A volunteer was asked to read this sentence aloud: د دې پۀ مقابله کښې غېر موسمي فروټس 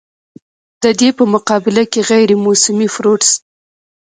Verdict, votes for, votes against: rejected, 0, 2